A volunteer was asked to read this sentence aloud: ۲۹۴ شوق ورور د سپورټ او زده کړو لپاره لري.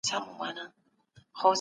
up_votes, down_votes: 0, 2